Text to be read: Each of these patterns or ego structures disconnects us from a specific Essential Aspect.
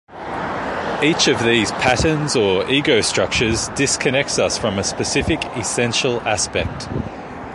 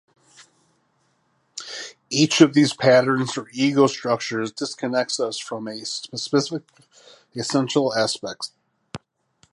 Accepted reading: first